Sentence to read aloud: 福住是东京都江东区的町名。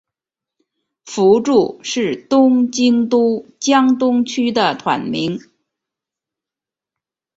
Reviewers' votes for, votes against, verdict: 2, 1, accepted